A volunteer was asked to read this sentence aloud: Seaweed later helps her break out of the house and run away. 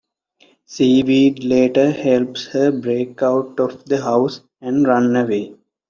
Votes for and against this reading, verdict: 2, 0, accepted